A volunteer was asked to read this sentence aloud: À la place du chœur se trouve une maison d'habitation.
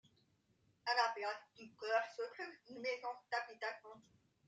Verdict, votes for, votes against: rejected, 1, 3